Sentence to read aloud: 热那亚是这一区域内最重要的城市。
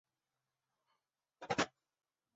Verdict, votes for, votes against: rejected, 0, 2